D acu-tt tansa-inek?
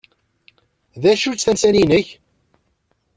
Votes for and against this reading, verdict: 1, 2, rejected